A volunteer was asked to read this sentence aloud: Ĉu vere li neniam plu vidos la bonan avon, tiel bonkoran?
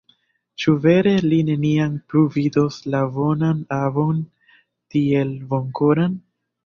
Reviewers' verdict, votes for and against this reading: accepted, 2, 1